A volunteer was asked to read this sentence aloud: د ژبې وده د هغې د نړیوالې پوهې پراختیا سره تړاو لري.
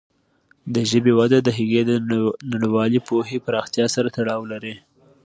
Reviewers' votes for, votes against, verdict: 2, 0, accepted